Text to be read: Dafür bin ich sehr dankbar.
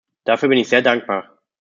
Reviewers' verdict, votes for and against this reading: accepted, 2, 0